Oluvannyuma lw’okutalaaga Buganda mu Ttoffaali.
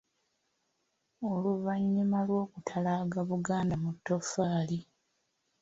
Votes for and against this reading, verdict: 2, 0, accepted